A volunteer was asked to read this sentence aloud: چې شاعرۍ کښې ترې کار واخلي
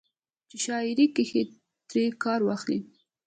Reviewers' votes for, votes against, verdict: 2, 1, accepted